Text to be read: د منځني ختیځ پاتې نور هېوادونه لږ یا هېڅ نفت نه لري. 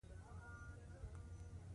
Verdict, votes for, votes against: accepted, 2, 0